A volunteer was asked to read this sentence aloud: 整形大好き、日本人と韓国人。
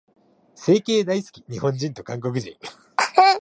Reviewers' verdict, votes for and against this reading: rejected, 0, 2